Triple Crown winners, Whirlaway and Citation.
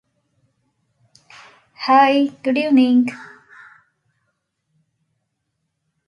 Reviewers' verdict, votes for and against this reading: rejected, 0, 2